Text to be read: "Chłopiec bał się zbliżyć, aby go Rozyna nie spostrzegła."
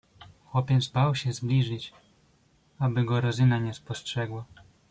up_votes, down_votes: 1, 2